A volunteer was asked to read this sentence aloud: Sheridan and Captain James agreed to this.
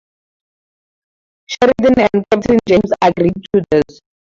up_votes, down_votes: 0, 2